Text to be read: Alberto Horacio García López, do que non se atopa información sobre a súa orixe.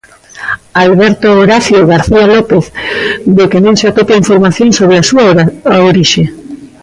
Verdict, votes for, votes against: rejected, 0, 2